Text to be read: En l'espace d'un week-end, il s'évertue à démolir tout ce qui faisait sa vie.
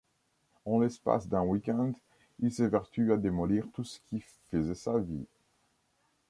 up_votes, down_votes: 1, 2